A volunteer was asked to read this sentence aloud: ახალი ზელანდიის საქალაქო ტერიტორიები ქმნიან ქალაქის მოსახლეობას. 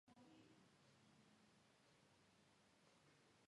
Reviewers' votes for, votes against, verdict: 0, 2, rejected